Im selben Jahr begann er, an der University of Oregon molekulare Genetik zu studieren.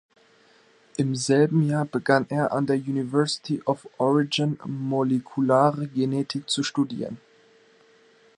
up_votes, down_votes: 1, 2